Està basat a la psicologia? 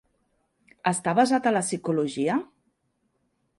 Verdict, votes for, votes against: accepted, 3, 0